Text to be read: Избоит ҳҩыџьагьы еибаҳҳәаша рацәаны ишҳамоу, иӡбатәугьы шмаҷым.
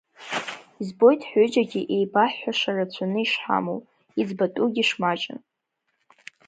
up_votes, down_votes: 3, 1